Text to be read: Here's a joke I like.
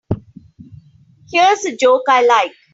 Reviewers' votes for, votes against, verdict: 3, 0, accepted